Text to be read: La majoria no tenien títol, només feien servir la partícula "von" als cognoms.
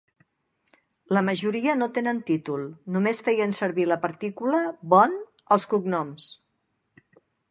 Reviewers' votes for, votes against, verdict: 0, 2, rejected